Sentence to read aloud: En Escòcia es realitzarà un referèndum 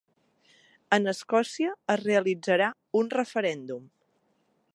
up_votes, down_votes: 3, 0